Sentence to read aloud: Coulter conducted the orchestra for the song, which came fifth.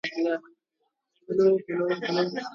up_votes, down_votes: 0, 2